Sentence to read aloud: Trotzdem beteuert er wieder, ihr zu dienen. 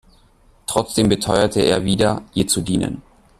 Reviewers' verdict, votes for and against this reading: rejected, 0, 2